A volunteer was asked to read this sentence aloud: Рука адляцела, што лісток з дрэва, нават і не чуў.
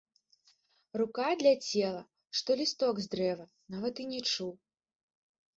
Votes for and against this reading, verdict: 0, 2, rejected